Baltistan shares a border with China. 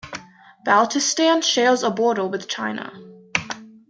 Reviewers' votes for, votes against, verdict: 2, 0, accepted